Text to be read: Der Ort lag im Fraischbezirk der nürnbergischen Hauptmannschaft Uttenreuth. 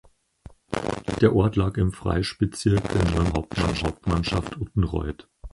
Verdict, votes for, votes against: rejected, 0, 4